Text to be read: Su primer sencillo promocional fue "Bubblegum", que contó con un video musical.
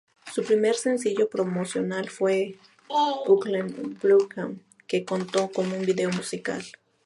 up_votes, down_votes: 2, 0